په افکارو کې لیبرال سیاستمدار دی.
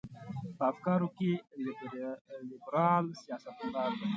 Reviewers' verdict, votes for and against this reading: accepted, 2, 0